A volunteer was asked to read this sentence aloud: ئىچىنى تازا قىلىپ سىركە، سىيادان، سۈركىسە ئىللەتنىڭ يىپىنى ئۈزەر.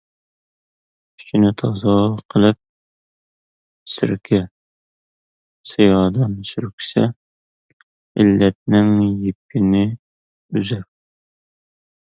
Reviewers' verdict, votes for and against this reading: rejected, 0, 2